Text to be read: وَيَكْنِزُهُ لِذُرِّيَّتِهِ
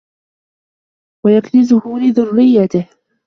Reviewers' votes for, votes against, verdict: 0, 2, rejected